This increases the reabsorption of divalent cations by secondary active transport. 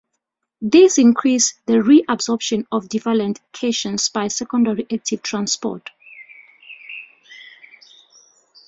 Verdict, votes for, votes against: accepted, 2, 1